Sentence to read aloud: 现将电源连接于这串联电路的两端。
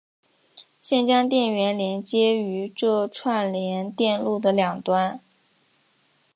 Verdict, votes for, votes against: accepted, 2, 0